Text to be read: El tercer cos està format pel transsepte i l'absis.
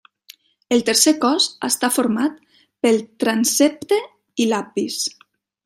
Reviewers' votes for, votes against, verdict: 0, 2, rejected